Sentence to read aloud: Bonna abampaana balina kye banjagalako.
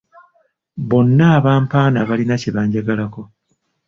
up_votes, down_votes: 3, 0